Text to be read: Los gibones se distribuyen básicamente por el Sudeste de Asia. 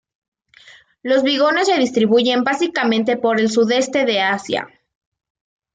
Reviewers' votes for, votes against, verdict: 1, 2, rejected